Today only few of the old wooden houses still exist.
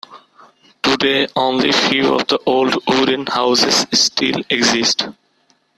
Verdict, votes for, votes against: rejected, 1, 2